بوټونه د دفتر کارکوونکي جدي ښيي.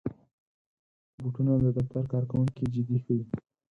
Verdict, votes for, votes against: accepted, 4, 0